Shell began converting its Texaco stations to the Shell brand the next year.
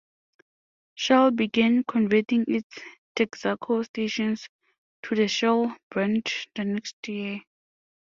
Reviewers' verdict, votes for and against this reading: rejected, 0, 2